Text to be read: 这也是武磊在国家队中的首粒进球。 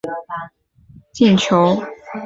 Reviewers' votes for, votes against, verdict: 0, 2, rejected